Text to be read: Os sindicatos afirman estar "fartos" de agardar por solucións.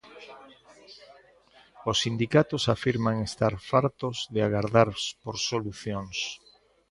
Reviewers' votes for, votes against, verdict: 1, 2, rejected